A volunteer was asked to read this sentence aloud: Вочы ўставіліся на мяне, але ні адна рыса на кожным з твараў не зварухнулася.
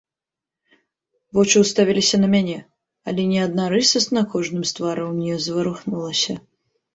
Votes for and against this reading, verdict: 2, 3, rejected